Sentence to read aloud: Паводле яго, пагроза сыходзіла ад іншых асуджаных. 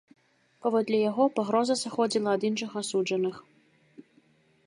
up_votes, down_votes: 2, 0